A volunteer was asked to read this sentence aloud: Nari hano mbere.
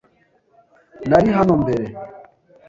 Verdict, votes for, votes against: accepted, 2, 0